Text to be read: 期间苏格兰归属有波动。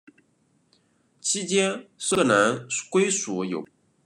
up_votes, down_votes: 0, 2